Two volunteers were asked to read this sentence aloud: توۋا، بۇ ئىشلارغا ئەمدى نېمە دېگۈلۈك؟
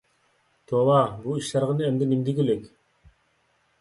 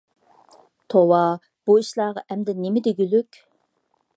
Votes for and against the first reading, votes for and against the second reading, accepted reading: 0, 2, 2, 0, second